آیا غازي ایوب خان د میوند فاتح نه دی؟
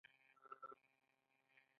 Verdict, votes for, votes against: accepted, 2, 0